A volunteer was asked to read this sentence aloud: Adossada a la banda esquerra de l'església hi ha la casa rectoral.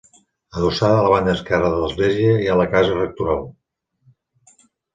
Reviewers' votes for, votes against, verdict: 2, 1, accepted